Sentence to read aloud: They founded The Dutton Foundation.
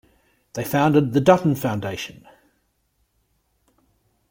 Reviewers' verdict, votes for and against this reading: accepted, 2, 0